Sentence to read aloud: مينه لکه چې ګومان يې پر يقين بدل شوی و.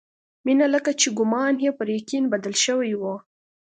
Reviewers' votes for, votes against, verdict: 2, 0, accepted